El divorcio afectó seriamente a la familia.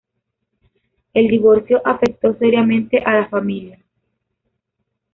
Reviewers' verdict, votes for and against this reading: rejected, 1, 2